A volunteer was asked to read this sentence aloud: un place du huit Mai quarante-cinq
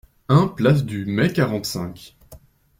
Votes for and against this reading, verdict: 0, 2, rejected